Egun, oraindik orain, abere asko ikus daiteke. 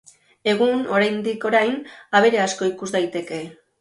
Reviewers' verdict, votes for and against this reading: accepted, 3, 0